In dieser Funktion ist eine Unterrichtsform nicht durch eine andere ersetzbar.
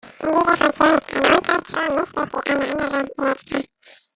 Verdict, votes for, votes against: rejected, 0, 2